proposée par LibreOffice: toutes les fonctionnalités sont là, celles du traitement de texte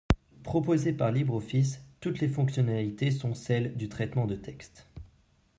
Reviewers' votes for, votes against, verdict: 0, 2, rejected